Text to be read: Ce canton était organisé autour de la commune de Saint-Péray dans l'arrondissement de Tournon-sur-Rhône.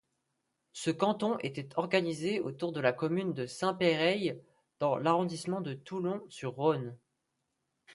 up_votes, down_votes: 2, 1